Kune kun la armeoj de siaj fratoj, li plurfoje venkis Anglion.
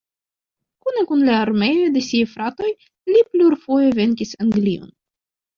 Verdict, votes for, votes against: accepted, 2, 0